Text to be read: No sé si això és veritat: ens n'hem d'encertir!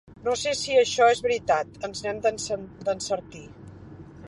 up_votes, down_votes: 0, 2